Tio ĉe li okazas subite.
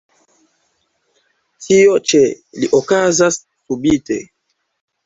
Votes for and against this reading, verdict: 1, 2, rejected